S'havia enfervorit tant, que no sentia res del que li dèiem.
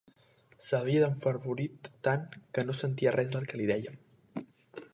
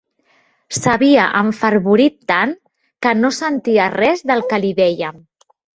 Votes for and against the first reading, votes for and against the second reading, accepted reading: 2, 1, 1, 2, first